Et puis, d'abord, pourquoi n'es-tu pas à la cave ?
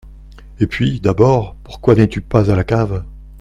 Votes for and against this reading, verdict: 2, 0, accepted